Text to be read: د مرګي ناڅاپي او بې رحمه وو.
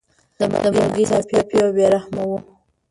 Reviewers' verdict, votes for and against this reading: rejected, 0, 2